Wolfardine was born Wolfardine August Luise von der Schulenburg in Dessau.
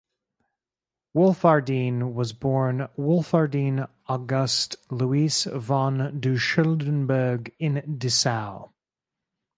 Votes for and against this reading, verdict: 2, 2, rejected